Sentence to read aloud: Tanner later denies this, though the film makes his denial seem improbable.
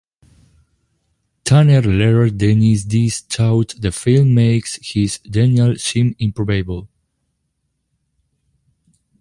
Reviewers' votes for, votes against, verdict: 1, 2, rejected